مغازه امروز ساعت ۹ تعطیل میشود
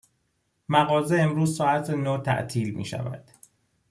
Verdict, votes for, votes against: rejected, 0, 2